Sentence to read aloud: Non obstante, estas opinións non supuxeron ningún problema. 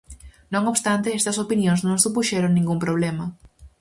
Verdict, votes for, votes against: rejected, 0, 4